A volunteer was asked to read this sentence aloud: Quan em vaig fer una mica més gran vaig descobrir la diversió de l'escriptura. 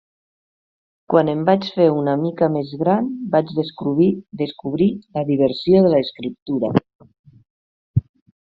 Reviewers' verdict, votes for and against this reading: rejected, 1, 2